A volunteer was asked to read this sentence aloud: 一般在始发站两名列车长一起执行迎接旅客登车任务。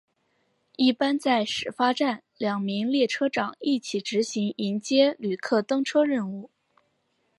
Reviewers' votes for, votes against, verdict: 2, 1, accepted